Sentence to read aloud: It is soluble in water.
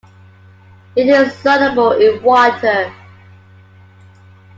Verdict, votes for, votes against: accepted, 2, 0